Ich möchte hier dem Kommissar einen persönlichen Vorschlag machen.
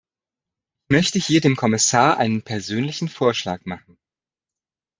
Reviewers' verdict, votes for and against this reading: rejected, 0, 2